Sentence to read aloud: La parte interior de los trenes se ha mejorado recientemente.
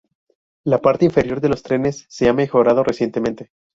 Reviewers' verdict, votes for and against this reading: rejected, 0, 4